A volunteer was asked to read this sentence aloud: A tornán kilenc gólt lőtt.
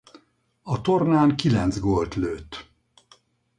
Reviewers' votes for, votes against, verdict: 4, 0, accepted